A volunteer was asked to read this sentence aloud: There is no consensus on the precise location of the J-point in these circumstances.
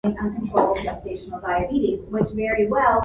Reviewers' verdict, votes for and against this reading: rejected, 0, 2